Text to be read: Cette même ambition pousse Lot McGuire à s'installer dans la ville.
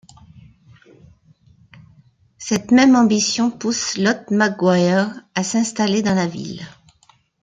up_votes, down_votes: 2, 0